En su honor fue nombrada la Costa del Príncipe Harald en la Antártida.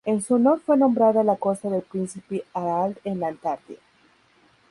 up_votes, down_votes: 0, 2